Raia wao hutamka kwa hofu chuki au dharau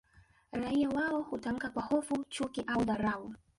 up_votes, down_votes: 1, 4